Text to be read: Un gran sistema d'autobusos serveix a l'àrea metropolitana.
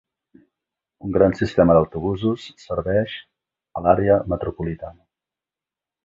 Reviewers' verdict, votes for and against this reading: rejected, 1, 2